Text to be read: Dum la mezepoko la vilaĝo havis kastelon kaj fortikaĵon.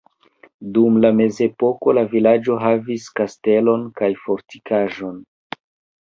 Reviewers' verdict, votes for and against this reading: rejected, 0, 2